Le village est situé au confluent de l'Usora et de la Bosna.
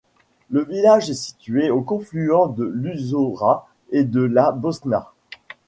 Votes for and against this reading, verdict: 2, 0, accepted